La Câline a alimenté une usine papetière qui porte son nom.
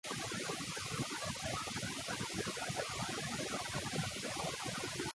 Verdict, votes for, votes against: rejected, 0, 2